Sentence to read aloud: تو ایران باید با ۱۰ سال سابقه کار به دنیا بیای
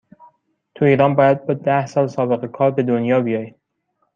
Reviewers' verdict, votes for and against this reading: rejected, 0, 2